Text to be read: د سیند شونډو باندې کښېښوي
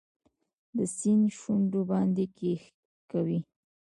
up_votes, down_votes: 1, 2